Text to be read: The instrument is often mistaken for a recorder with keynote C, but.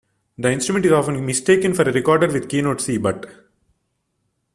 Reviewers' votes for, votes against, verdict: 1, 2, rejected